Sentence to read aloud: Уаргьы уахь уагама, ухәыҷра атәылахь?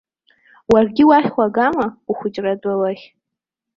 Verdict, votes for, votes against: accepted, 2, 0